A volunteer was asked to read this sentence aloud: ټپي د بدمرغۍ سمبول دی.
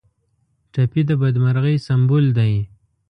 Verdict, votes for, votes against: accepted, 2, 0